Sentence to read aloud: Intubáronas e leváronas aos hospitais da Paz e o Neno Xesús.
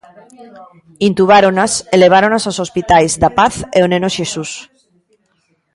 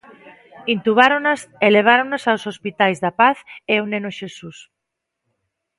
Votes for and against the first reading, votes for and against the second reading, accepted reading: 0, 2, 2, 0, second